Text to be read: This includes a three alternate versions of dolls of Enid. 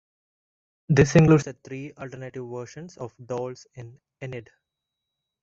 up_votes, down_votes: 0, 2